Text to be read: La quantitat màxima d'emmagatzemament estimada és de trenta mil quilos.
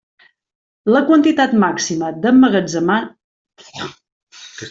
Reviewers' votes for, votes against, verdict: 0, 2, rejected